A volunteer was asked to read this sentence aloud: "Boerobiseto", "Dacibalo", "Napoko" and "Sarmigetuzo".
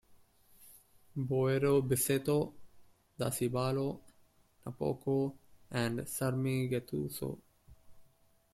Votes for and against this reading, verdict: 1, 2, rejected